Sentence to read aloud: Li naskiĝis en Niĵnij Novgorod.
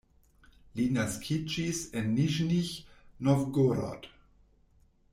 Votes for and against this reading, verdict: 1, 2, rejected